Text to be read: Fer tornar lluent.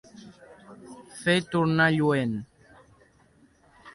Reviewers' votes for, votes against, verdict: 2, 0, accepted